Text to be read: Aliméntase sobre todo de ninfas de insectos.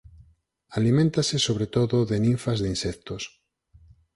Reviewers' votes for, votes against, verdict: 4, 0, accepted